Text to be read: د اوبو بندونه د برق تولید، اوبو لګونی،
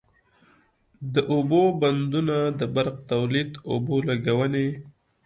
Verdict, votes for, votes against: accepted, 2, 0